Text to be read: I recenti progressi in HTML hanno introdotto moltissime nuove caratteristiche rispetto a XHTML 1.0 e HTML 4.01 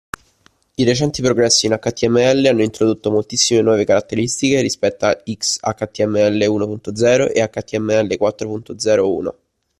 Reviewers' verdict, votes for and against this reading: rejected, 0, 2